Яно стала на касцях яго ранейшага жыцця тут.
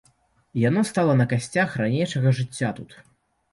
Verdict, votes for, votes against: rejected, 0, 2